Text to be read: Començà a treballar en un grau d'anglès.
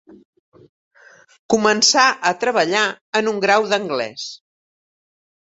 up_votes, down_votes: 3, 0